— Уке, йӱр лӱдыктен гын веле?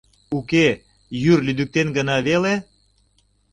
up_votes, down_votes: 1, 2